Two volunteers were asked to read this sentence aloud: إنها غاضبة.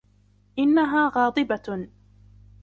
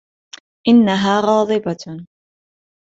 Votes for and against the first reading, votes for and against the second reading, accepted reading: 0, 2, 2, 1, second